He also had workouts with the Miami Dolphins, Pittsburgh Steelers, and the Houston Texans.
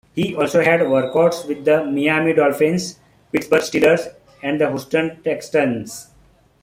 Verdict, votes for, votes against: rejected, 0, 2